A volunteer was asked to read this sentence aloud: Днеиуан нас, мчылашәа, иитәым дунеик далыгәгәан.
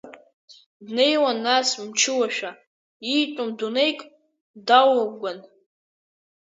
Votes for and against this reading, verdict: 2, 0, accepted